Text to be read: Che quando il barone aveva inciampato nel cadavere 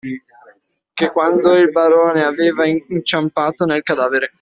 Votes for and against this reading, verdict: 2, 0, accepted